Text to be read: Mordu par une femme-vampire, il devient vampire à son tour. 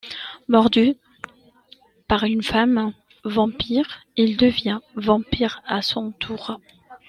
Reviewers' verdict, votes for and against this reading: accepted, 2, 0